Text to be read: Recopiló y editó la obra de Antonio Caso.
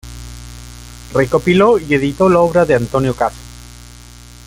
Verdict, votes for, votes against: rejected, 1, 2